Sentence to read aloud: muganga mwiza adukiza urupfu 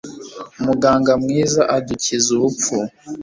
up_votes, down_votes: 2, 0